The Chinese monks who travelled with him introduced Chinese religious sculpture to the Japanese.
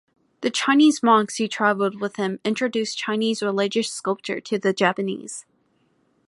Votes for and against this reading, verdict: 2, 1, accepted